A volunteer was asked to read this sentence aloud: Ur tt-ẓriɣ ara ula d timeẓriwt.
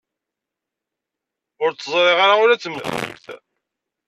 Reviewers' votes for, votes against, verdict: 0, 2, rejected